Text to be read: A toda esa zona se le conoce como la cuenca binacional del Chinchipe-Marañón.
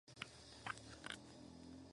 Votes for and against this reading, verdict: 2, 2, rejected